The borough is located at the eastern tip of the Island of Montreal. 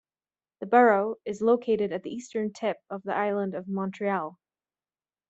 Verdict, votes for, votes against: accepted, 2, 0